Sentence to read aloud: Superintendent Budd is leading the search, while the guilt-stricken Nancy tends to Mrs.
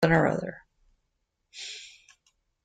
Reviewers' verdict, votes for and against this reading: rejected, 0, 2